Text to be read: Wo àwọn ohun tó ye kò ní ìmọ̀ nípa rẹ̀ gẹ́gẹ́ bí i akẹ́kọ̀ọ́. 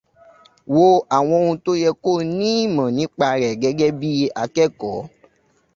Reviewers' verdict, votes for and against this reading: accepted, 2, 0